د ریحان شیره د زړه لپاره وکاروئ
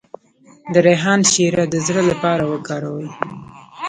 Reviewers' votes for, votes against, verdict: 0, 2, rejected